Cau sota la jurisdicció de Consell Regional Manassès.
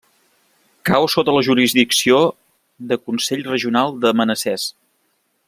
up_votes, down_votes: 1, 2